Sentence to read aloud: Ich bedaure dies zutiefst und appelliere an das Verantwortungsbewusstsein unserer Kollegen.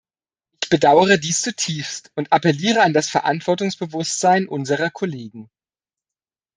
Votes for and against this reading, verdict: 1, 2, rejected